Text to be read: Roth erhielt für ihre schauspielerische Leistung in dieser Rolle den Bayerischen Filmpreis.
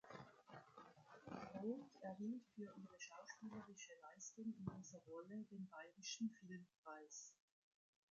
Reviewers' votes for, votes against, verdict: 3, 2, accepted